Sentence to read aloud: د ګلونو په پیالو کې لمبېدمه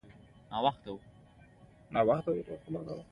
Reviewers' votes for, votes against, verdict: 0, 2, rejected